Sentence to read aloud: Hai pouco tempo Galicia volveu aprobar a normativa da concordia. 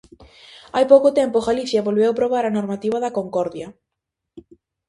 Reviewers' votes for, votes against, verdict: 2, 0, accepted